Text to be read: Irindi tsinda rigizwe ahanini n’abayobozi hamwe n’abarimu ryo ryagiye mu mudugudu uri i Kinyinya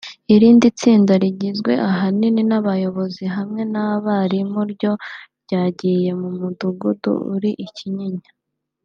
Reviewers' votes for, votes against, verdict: 1, 2, rejected